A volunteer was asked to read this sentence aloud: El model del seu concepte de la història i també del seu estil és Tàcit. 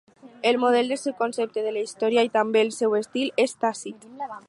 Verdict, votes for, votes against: accepted, 4, 2